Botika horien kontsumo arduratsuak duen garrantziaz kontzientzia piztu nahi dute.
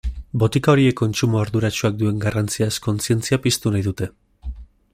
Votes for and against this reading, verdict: 2, 1, accepted